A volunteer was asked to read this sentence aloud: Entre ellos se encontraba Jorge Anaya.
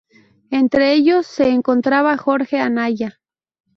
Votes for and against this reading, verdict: 0, 2, rejected